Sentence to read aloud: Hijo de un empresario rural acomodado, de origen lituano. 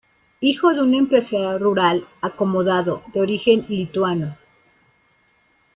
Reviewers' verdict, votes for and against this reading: rejected, 1, 2